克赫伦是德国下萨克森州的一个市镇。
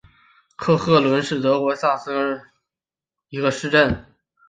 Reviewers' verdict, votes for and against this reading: rejected, 1, 2